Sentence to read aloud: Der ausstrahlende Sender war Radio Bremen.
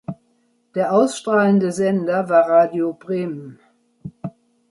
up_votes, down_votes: 2, 0